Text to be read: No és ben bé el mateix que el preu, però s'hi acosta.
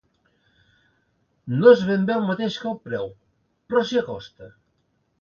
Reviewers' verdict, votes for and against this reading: accepted, 2, 0